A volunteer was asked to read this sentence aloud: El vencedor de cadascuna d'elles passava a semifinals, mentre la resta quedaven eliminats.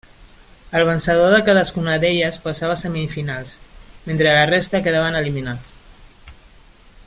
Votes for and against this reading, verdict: 2, 0, accepted